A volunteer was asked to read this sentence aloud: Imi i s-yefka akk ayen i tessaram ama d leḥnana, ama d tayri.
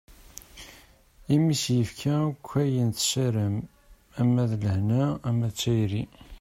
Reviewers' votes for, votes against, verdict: 0, 2, rejected